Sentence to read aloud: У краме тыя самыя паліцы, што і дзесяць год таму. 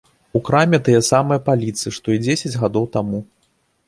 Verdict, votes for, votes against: rejected, 0, 2